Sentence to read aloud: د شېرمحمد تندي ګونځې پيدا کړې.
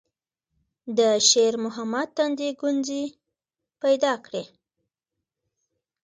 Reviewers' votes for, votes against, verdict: 2, 0, accepted